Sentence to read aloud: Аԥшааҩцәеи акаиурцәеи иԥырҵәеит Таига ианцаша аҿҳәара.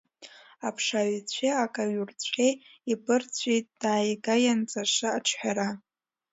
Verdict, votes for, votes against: rejected, 1, 2